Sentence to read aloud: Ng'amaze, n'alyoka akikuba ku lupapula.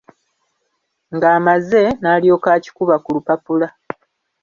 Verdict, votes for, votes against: accepted, 2, 0